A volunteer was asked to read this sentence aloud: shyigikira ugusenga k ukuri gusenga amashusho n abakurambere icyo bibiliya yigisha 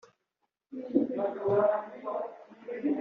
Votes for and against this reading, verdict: 0, 5, rejected